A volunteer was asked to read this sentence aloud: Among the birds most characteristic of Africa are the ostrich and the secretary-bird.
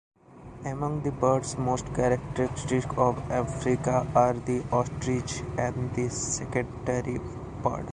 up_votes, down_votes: 2, 1